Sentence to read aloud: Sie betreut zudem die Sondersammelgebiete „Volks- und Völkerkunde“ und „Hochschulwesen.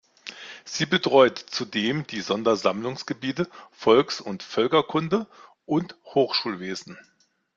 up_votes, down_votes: 0, 2